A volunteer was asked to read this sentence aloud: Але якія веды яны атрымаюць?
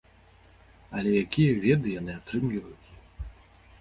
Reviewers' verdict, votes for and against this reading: rejected, 1, 2